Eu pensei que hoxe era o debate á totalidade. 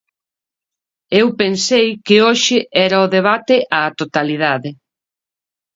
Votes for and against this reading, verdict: 2, 0, accepted